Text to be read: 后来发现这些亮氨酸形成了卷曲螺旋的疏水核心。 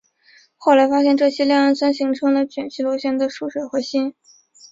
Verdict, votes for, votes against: accepted, 3, 0